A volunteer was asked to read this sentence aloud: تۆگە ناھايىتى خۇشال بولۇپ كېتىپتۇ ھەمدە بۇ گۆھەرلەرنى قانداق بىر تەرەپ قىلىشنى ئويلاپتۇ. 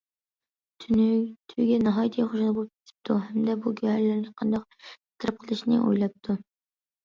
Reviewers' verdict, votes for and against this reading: rejected, 0, 2